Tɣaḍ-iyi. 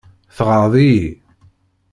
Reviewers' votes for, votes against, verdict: 2, 0, accepted